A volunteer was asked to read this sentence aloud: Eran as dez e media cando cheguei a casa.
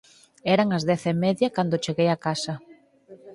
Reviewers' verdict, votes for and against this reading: rejected, 2, 4